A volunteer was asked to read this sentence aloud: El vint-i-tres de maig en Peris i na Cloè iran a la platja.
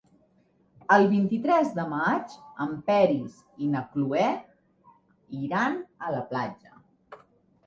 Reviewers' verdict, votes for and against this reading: accepted, 3, 0